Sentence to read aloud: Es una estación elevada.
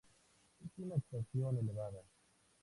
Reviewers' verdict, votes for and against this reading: accepted, 2, 0